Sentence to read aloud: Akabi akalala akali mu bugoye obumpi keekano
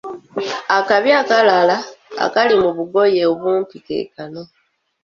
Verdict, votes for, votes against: rejected, 0, 2